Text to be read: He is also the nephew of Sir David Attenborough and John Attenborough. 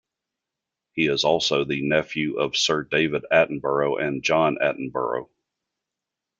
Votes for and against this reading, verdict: 2, 0, accepted